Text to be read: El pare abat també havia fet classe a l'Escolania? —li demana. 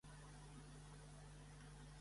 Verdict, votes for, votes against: rejected, 0, 2